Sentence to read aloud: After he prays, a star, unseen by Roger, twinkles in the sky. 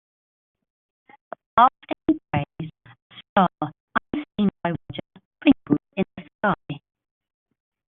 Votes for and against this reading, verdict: 1, 2, rejected